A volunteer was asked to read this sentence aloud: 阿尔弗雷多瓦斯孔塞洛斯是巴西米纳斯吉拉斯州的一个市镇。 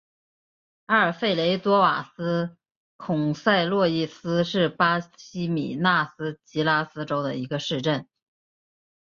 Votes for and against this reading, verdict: 5, 0, accepted